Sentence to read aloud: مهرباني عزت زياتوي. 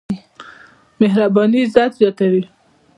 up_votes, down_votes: 2, 1